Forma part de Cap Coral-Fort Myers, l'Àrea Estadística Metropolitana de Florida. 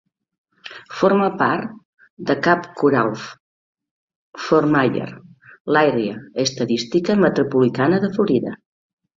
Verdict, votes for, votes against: rejected, 0, 2